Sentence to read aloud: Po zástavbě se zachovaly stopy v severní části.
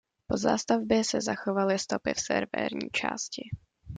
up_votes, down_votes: 1, 2